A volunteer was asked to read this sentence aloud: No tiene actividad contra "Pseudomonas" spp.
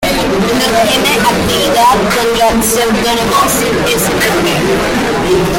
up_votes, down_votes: 0, 2